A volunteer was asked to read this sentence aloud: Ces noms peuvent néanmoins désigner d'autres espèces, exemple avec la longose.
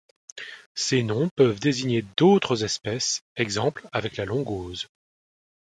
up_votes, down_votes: 0, 2